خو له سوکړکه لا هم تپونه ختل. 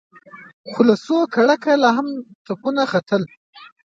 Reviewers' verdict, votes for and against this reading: rejected, 1, 2